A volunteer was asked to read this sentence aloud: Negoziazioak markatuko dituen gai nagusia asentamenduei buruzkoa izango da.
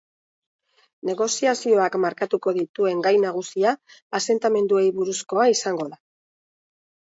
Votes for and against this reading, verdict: 2, 0, accepted